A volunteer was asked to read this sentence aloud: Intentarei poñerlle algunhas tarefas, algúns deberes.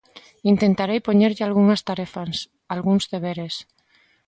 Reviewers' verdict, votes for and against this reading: accepted, 2, 0